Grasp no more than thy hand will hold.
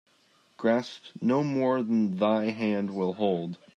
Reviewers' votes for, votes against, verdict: 2, 0, accepted